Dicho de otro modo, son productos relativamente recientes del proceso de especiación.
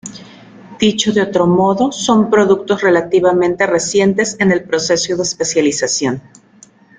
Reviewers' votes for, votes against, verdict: 0, 2, rejected